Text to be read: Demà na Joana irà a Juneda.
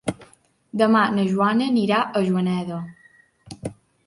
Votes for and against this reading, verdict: 1, 2, rejected